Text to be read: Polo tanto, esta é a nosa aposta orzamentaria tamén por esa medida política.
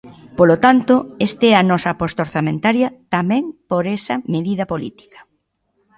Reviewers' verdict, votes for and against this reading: rejected, 0, 2